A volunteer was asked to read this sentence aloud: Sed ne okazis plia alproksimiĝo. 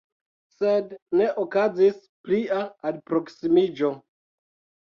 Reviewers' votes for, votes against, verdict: 2, 1, accepted